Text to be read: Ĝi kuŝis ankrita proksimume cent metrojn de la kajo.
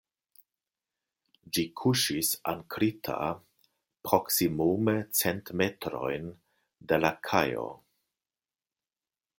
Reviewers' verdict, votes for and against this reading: accepted, 2, 0